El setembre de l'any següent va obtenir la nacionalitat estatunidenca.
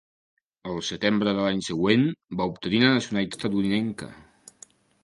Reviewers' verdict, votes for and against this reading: rejected, 0, 2